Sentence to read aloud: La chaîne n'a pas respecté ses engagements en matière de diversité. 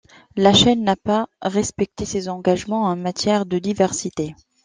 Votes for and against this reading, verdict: 2, 0, accepted